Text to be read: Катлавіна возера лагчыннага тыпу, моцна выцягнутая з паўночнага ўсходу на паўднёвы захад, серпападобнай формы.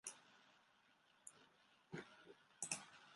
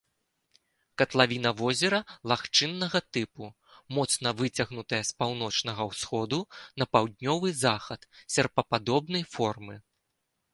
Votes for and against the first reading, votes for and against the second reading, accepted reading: 0, 2, 2, 0, second